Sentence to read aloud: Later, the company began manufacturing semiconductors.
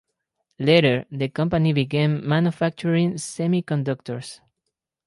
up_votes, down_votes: 4, 0